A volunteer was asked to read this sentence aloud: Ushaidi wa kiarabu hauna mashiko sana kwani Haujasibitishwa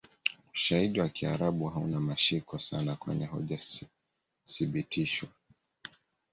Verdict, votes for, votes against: rejected, 1, 2